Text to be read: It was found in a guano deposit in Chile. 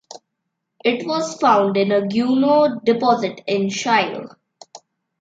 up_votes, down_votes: 1, 2